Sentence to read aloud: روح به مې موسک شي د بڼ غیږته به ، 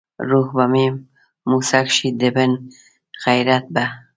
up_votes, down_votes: 1, 2